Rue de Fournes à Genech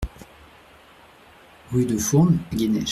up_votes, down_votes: 0, 2